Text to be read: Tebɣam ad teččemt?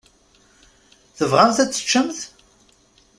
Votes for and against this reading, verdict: 1, 2, rejected